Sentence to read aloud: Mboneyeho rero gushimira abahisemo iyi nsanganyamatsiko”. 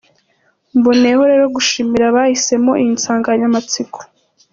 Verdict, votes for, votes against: accepted, 2, 0